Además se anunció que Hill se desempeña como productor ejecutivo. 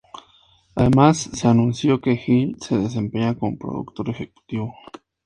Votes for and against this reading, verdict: 4, 2, accepted